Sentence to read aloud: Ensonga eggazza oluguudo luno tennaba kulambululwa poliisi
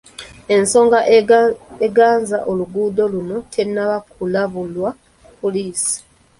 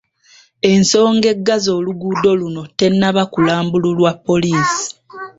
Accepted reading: second